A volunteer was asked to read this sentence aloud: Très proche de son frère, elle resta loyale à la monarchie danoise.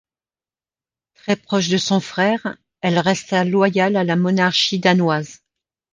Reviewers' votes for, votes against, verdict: 2, 0, accepted